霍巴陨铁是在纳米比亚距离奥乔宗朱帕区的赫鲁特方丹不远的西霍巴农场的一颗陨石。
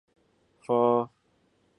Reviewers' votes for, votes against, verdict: 0, 2, rejected